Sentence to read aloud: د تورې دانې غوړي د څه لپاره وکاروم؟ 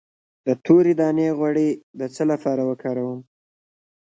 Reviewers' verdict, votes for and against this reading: accepted, 2, 1